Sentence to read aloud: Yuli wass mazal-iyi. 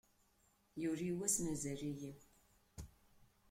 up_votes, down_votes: 2, 1